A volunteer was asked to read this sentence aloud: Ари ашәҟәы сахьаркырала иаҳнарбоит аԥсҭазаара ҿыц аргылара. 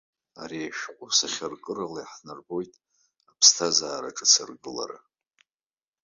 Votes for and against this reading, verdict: 2, 0, accepted